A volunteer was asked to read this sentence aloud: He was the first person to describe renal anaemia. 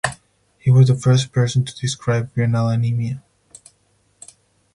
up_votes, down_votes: 6, 0